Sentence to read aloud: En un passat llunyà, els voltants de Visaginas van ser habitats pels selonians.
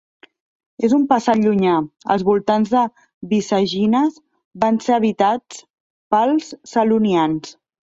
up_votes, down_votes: 1, 2